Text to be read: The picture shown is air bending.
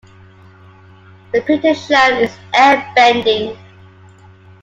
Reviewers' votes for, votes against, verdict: 2, 0, accepted